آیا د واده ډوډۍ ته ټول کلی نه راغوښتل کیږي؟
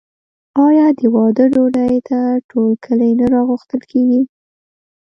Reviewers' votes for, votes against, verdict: 0, 2, rejected